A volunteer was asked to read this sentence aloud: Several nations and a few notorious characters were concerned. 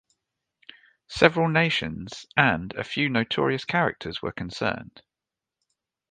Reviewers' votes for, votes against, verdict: 2, 0, accepted